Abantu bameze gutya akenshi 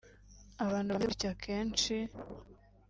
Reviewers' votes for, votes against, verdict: 0, 2, rejected